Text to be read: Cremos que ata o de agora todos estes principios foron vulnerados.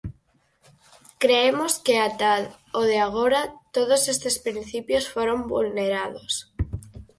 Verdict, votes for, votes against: rejected, 0, 4